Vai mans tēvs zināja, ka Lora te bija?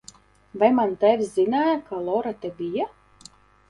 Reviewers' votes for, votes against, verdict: 0, 2, rejected